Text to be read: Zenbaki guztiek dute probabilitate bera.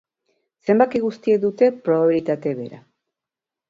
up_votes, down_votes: 3, 0